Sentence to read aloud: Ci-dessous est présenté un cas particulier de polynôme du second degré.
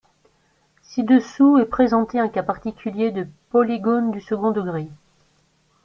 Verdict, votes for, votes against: rejected, 0, 4